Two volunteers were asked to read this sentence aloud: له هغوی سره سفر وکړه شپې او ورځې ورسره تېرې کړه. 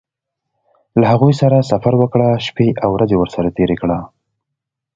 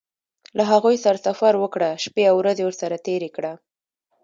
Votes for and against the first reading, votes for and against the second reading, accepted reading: 2, 0, 1, 2, first